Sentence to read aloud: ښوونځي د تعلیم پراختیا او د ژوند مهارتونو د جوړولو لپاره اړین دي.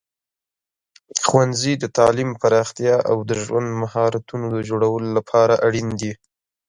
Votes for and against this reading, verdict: 2, 0, accepted